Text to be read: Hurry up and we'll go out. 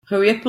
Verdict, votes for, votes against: rejected, 0, 3